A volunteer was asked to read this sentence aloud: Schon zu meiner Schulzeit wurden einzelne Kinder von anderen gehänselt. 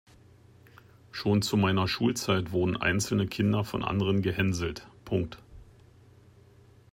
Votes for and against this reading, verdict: 0, 3, rejected